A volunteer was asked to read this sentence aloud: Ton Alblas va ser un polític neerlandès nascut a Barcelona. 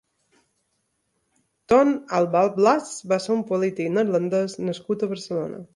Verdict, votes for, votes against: rejected, 1, 2